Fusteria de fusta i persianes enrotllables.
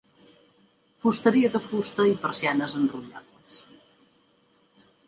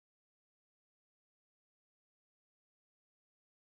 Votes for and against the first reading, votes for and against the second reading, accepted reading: 2, 0, 0, 2, first